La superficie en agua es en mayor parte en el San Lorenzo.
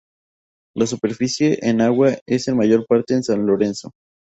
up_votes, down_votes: 2, 0